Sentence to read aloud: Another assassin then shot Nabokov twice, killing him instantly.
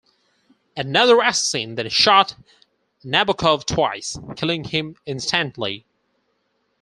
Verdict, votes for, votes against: rejected, 0, 4